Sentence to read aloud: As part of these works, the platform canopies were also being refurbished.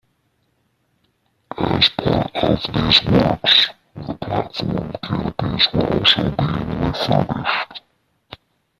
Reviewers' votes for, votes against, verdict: 0, 3, rejected